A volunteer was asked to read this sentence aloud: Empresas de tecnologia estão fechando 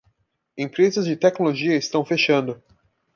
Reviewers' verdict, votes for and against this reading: accepted, 2, 0